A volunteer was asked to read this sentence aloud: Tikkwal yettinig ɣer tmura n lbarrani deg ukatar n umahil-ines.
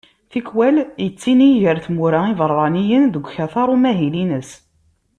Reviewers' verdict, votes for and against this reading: rejected, 0, 2